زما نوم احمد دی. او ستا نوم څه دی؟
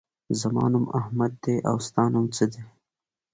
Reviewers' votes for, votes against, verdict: 2, 0, accepted